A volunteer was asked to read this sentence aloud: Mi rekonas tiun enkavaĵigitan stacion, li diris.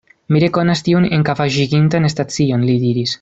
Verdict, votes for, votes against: rejected, 1, 2